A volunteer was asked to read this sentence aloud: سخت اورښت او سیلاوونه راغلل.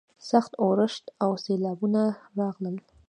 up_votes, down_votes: 0, 2